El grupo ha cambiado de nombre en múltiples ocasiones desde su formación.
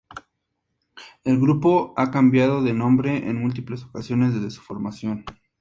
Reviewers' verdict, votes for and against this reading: accepted, 2, 0